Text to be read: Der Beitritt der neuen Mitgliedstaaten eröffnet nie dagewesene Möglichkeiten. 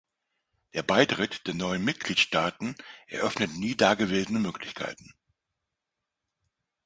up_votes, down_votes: 2, 0